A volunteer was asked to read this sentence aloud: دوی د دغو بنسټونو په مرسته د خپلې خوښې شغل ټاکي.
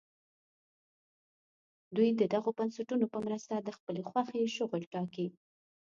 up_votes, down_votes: 2, 0